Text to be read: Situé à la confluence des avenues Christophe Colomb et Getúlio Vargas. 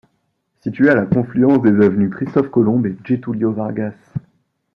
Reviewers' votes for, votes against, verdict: 1, 2, rejected